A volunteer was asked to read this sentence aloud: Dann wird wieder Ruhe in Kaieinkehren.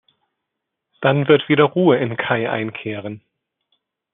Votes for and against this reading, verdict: 1, 2, rejected